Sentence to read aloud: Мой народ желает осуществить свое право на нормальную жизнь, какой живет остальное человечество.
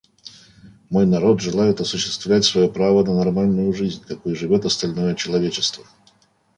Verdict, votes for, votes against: rejected, 1, 2